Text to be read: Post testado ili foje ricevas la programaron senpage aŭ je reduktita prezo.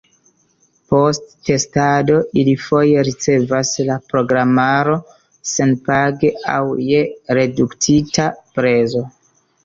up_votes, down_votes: 0, 2